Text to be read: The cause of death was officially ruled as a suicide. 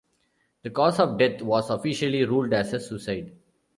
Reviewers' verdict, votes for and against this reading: accepted, 2, 0